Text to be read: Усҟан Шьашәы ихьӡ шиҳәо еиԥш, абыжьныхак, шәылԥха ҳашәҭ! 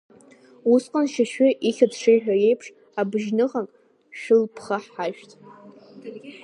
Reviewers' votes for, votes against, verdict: 0, 2, rejected